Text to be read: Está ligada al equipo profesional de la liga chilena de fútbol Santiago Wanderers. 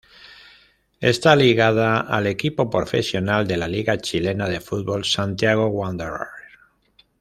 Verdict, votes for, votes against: accepted, 2, 0